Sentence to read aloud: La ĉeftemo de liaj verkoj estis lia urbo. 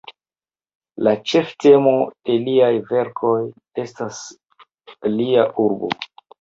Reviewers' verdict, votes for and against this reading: rejected, 1, 2